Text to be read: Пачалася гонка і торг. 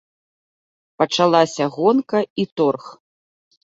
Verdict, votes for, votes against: accepted, 2, 0